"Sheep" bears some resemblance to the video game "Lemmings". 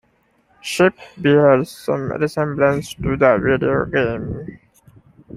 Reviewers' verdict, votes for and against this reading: rejected, 0, 2